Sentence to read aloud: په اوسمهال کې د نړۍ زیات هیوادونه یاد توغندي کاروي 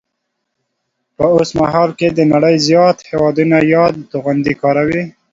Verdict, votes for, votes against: accepted, 2, 0